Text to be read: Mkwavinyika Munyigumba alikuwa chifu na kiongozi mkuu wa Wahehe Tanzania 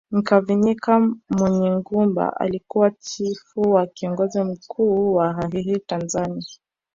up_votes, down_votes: 1, 2